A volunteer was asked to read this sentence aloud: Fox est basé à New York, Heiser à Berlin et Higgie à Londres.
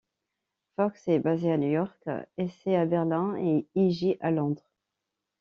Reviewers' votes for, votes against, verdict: 0, 2, rejected